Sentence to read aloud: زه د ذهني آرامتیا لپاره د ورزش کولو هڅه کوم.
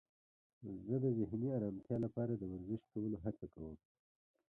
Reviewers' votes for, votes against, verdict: 1, 2, rejected